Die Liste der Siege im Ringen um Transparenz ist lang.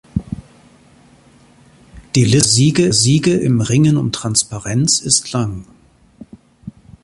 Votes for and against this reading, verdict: 0, 3, rejected